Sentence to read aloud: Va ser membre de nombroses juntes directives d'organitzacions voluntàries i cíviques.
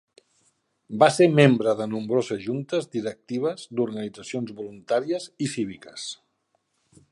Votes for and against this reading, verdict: 4, 0, accepted